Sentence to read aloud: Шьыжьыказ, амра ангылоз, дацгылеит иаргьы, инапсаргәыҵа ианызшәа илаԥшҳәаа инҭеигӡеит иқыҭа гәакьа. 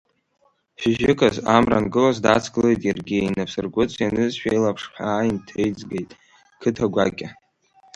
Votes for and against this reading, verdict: 1, 2, rejected